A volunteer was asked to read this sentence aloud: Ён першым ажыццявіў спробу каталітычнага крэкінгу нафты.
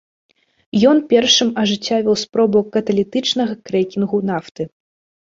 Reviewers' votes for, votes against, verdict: 0, 2, rejected